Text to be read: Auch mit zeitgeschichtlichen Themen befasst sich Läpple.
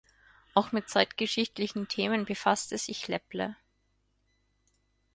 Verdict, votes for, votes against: rejected, 0, 4